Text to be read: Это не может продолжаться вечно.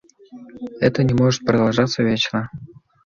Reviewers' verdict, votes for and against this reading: accepted, 2, 1